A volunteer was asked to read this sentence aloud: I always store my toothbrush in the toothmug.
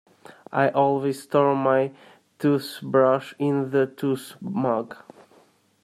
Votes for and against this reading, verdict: 2, 0, accepted